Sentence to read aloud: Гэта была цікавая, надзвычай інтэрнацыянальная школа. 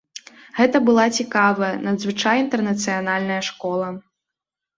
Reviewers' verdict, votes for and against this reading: rejected, 1, 2